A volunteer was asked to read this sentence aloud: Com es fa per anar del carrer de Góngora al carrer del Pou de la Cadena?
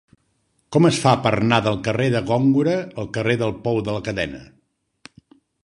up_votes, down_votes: 0, 2